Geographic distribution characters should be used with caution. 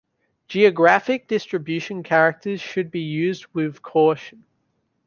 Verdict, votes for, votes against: accepted, 2, 0